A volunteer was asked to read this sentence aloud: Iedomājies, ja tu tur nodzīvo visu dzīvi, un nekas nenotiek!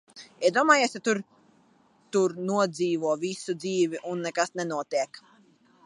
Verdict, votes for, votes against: rejected, 1, 2